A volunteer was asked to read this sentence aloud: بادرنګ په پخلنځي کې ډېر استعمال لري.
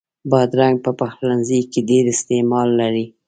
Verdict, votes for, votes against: accepted, 2, 0